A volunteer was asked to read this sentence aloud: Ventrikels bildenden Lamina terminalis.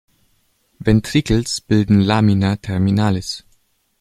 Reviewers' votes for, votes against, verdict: 1, 2, rejected